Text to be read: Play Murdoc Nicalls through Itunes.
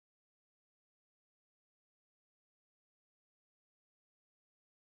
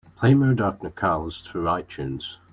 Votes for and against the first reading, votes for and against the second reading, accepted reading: 0, 2, 2, 0, second